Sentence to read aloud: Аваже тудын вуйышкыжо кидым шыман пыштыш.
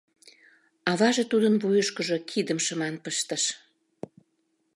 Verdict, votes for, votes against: accepted, 2, 0